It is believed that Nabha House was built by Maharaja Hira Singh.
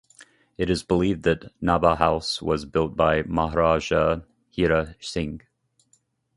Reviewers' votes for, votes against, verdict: 2, 0, accepted